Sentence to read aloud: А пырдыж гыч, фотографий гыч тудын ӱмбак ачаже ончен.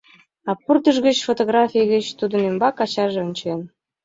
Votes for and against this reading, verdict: 2, 0, accepted